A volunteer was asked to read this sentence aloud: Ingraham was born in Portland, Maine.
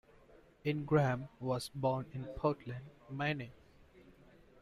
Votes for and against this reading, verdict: 1, 2, rejected